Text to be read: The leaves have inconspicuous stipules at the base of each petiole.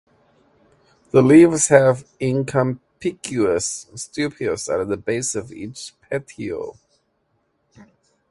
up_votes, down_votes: 1, 2